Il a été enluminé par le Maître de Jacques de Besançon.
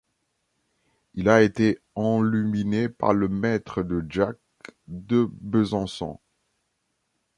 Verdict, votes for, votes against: rejected, 0, 2